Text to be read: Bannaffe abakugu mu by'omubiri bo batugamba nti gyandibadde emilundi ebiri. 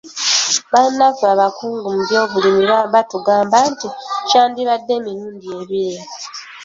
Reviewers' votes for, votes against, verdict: 1, 2, rejected